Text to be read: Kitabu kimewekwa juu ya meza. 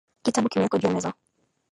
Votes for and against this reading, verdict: 0, 2, rejected